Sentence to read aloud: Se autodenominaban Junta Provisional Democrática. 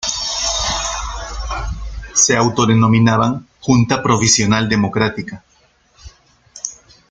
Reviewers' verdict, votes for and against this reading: rejected, 1, 2